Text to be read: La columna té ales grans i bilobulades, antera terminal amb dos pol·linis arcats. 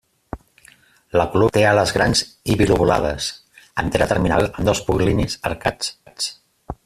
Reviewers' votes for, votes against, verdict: 0, 2, rejected